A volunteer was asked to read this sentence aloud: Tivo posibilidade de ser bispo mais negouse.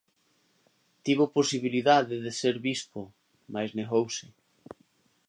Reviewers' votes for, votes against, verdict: 2, 0, accepted